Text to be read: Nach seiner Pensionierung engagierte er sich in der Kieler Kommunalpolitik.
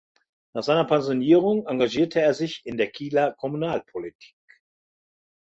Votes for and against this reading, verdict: 2, 0, accepted